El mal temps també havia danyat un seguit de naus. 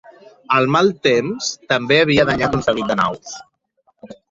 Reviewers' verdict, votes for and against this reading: rejected, 1, 2